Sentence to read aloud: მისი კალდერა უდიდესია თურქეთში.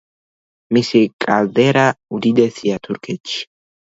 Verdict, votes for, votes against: accepted, 2, 0